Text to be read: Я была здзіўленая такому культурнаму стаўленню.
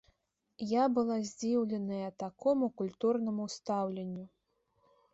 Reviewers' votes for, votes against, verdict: 2, 0, accepted